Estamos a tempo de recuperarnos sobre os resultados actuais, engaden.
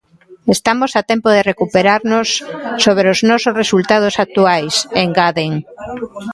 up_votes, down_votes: 1, 2